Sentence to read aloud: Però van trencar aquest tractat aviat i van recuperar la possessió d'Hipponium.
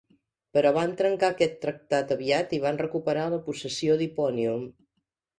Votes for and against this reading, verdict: 2, 0, accepted